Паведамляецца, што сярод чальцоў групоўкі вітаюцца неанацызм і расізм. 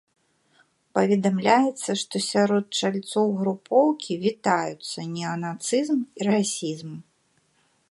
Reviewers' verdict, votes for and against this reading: accepted, 2, 0